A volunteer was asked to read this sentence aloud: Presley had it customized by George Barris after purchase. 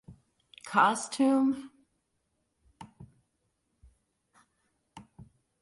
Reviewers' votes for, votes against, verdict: 0, 2, rejected